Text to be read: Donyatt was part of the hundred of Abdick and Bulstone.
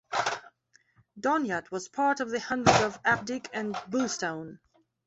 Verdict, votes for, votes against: rejected, 1, 2